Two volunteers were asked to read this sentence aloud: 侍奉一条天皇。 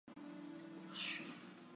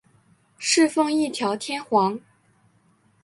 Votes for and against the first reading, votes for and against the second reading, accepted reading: 0, 2, 4, 0, second